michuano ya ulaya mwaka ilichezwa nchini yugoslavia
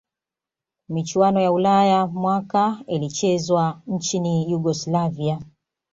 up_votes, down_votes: 3, 0